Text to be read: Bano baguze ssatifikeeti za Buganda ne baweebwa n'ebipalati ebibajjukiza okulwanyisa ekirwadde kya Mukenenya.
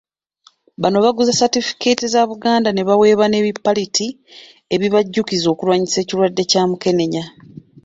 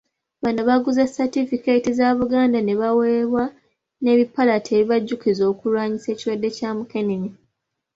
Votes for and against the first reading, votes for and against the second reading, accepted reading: 1, 2, 2, 0, second